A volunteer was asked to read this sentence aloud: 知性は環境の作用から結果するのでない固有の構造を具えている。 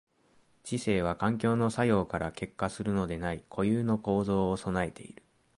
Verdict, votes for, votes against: accepted, 2, 0